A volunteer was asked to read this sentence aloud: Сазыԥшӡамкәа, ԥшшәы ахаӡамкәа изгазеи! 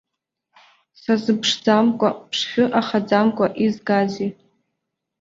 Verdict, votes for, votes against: accepted, 2, 0